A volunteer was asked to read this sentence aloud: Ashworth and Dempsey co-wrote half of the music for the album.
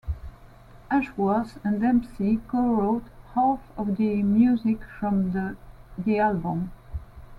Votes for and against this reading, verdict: 0, 2, rejected